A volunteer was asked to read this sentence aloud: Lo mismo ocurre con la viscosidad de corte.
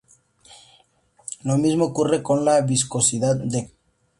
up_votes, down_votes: 0, 2